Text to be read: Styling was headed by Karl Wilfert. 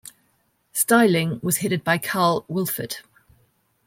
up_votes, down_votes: 1, 2